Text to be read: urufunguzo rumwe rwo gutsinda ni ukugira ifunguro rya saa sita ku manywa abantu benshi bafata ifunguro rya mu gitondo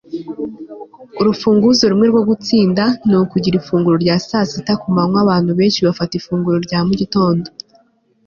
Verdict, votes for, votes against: accepted, 2, 0